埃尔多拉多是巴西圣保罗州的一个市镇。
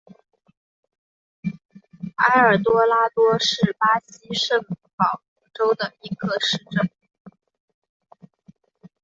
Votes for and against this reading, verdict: 3, 1, accepted